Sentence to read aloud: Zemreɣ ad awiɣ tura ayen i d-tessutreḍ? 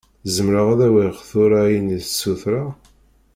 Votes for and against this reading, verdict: 0, 2, rejected